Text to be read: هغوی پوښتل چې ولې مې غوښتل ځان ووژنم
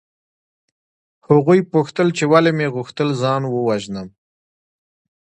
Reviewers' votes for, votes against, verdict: 2, 0, accepted